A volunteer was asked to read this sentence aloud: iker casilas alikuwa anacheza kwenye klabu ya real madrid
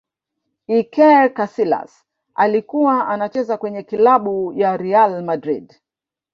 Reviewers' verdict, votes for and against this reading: accepted, 3, 0